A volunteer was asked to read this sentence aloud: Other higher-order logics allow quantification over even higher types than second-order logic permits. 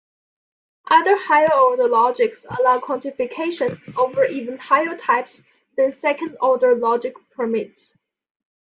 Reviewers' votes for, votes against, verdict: 2, 0, accepted